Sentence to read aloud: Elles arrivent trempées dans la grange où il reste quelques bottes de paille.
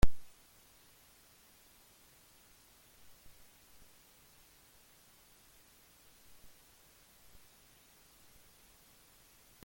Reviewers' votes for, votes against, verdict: 0, 2, rejected